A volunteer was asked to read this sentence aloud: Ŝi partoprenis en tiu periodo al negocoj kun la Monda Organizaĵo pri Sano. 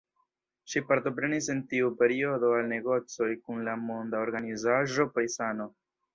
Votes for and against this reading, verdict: 0, 2, rejected